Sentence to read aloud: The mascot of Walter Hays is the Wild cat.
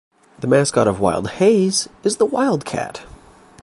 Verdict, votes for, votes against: rejected, 0, 2